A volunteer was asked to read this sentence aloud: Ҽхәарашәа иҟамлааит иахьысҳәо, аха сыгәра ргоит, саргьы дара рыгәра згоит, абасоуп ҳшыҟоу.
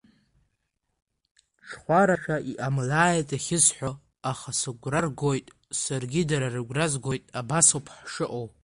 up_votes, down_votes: 0, 2